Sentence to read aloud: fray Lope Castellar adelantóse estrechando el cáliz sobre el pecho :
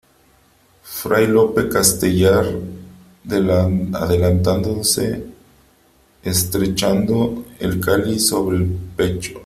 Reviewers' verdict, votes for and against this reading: rejected, 0, 3